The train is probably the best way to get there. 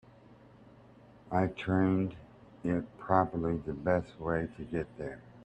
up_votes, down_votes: 0, 2